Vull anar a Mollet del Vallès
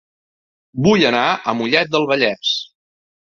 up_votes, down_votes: 2, 0